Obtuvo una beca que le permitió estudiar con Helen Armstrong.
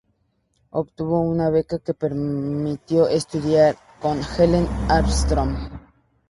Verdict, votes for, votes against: rejected, 0, 4